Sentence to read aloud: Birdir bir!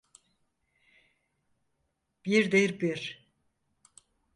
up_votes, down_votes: 4, 0